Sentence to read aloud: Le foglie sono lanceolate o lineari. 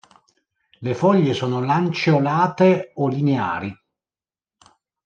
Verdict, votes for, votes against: accepted, 2, 0